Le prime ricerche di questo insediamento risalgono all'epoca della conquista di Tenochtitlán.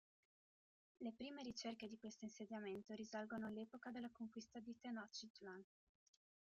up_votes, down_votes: 2, 1